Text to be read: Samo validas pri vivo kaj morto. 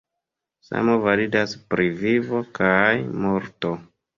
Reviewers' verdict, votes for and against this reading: accepted, 2, 0